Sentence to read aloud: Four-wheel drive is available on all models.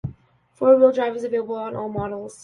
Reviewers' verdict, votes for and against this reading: accepted, 2, 0